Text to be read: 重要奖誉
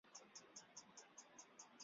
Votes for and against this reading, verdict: 2, 3, rejected